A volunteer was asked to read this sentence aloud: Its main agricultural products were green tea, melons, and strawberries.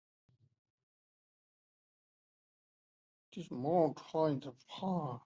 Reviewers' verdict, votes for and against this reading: rejected, 0, 2